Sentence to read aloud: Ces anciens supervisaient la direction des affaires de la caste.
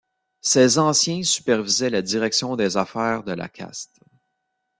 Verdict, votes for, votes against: accepted, 2, 0